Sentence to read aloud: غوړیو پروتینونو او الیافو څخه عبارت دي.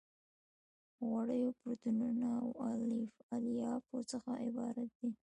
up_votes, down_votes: 0, 2